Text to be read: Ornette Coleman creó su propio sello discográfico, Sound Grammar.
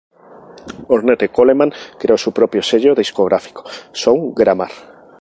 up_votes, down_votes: 2, 0